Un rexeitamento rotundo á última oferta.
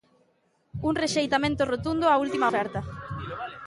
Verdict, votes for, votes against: rejected, 1, 2